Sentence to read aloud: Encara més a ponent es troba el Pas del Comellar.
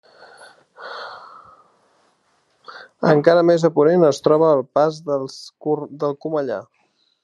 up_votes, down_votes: 0, 2